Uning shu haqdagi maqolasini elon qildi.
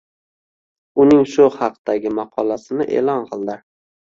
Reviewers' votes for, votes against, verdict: 2, 0, accepted